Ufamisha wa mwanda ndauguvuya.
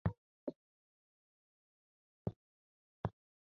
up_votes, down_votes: 1, 2